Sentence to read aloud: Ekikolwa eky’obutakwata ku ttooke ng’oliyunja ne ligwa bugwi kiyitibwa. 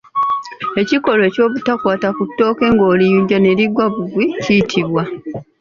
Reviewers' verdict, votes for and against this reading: rejected, 0, 2